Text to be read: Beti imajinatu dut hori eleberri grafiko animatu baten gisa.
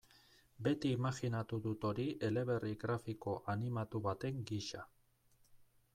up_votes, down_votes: 0, 2